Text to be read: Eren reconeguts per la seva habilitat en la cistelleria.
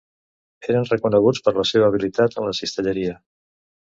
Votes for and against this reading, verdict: 3, 1, accepted